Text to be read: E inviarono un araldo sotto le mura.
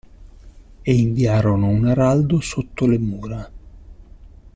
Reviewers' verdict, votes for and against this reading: accepted, 2, 0